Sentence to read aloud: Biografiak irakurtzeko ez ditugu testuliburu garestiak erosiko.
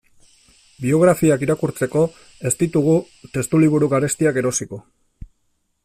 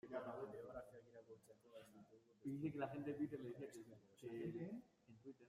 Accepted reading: first